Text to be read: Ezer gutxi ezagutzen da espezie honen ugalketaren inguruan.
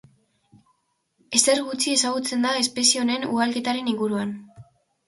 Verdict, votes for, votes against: accepted, 2, 0